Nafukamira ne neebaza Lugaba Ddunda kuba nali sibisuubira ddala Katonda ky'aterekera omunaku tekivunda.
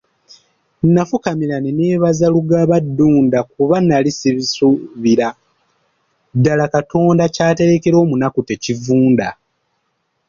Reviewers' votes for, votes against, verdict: 2, 0, accepted